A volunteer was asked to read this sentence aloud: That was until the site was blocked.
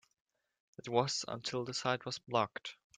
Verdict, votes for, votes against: accepted, 3, 0